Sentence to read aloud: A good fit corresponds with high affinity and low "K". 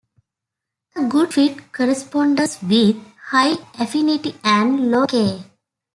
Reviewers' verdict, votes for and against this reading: rejected, 0, 2